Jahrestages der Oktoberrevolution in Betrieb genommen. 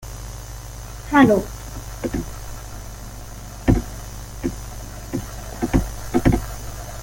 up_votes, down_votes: 0, 2